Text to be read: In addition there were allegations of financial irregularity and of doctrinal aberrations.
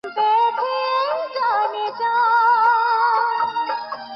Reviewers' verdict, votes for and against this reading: rejected, 0, 8